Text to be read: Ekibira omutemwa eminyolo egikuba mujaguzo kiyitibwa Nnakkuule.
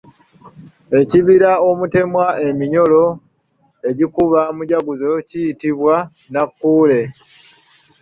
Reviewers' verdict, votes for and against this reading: rejected, 0, 2